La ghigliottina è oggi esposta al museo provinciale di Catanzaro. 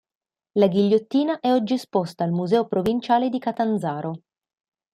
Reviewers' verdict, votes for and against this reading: accepted, 2, 0